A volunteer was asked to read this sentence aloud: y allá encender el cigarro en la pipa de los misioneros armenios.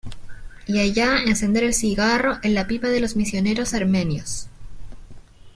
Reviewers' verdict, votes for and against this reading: accepted, 2, 0